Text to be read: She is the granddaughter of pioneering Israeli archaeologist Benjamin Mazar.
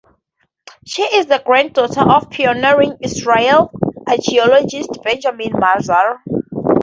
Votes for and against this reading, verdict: 2, 0, accepted